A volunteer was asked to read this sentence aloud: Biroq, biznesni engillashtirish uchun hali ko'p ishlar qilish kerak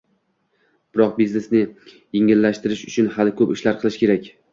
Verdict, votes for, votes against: rejected, 1, 2